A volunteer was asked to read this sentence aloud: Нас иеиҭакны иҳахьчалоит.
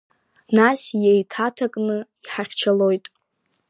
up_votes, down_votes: 0, 2